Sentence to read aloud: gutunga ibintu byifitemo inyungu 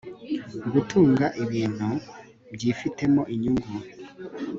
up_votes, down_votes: 2, 0